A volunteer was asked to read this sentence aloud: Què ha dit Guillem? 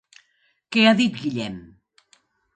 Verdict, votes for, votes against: accepted, 2, 0